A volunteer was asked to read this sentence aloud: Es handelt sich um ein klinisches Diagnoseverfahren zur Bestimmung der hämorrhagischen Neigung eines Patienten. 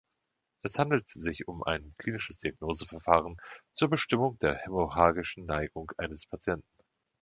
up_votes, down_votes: 1, 2